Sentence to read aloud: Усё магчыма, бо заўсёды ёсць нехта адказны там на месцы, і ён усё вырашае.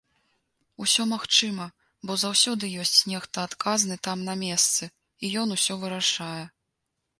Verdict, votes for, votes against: accepted, 3, 0